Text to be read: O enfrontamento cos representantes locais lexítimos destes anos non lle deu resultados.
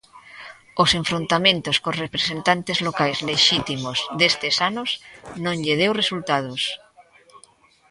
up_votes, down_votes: 0, 2